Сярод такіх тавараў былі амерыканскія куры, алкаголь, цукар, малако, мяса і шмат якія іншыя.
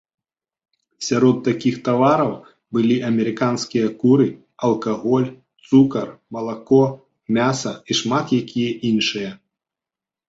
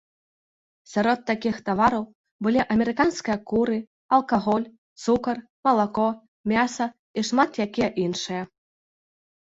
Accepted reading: first